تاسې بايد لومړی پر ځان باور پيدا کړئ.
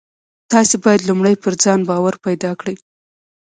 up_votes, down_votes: 2, 0